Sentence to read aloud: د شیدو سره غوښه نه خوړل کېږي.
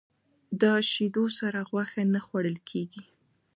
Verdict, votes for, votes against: accepted, 2, 0